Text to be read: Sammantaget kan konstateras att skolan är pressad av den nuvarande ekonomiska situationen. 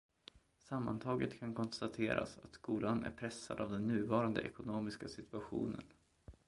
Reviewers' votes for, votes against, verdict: 1, 2, rejected